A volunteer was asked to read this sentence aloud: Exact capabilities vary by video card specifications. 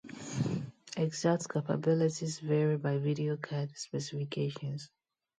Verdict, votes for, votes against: rejected, 0, 2